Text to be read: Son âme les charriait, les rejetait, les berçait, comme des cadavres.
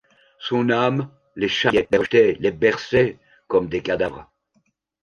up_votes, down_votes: 0, 2